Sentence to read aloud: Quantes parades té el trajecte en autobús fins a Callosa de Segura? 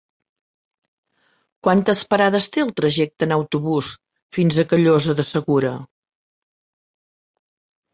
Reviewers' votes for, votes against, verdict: 4, 0, accepted